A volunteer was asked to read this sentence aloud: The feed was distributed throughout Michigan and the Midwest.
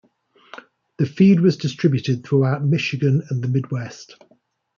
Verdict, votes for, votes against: accepted, 2, 0